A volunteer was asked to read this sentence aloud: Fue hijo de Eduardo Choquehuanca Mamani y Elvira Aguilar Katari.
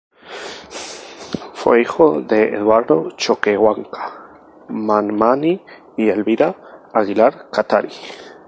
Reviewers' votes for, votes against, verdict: 0, 2, rejected